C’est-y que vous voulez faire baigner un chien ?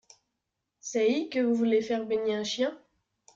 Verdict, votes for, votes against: rejected, 1, 2